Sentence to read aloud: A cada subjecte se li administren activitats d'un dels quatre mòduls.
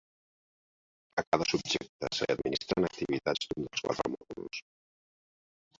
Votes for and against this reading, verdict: 1, 3, rejected